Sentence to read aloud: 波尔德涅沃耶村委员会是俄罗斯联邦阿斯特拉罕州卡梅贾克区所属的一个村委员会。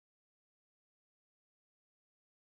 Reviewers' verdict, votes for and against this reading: rejected, 0, 2